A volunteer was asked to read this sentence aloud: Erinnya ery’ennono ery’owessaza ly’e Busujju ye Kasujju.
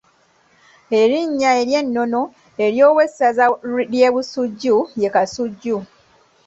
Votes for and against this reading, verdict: 2, 1, accepted